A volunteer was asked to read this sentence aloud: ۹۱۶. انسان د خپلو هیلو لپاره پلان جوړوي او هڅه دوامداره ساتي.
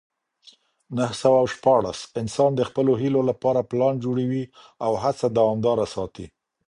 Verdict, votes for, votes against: rejected, 0, 2